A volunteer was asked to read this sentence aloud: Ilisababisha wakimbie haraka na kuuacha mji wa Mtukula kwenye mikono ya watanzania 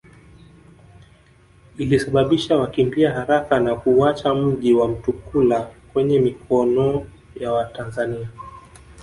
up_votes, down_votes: 1, 2